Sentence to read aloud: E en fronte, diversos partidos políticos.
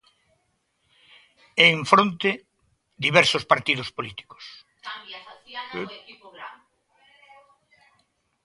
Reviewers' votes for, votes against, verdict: 1, 2, rejected